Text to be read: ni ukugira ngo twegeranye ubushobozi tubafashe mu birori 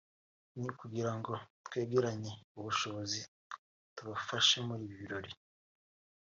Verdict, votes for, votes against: rejected, 1, 2